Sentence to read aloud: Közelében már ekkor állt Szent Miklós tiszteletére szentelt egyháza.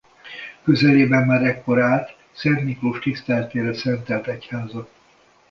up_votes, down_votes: 2, 0